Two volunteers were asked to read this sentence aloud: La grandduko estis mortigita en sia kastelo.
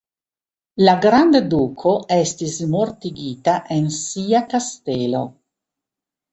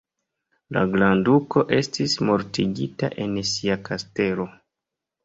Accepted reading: second